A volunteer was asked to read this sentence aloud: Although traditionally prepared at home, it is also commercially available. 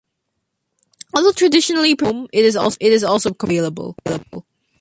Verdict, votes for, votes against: rejected, 0, 2